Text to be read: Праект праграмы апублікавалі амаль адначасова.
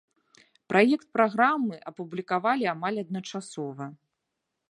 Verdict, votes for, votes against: accepted, 2, 0